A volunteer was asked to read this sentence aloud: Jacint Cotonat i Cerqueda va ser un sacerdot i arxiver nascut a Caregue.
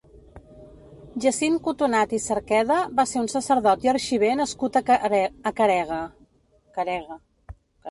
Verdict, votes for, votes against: rejected, 0, 2